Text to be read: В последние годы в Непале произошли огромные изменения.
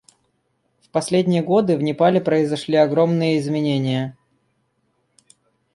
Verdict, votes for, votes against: rejected, 0, 2